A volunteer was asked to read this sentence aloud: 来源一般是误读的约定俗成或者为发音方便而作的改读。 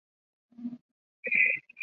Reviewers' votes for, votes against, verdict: 1, 2, rejected